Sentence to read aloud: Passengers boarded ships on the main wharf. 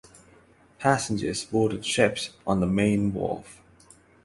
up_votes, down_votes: 12, 0